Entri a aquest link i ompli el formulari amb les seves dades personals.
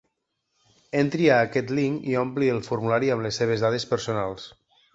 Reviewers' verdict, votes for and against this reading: accepted, 2, 0